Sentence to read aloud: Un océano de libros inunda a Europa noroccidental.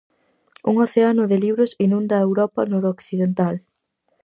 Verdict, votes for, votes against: accepted, 4, 0